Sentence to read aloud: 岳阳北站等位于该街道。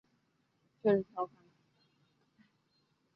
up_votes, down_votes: 1, 5